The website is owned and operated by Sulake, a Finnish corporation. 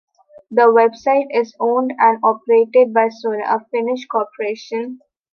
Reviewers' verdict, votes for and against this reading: accepted, 2, 1